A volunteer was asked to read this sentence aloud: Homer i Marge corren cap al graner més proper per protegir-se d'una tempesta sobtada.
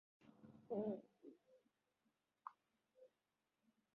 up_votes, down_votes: 1, 2